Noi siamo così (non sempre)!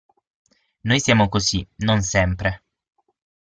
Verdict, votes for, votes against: accepted, 6, 0